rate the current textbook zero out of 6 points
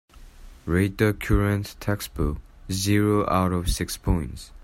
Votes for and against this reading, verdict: 0, 2, rejected